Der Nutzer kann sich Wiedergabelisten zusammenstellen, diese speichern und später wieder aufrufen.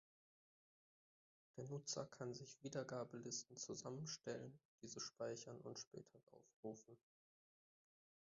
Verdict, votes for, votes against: rejected, 0, 2